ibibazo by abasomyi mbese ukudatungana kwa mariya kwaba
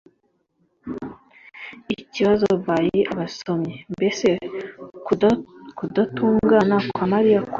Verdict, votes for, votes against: rejected, 1, 2